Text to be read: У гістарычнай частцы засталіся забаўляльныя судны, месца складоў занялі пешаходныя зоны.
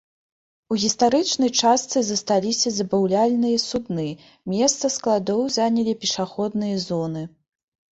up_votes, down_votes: 1, 2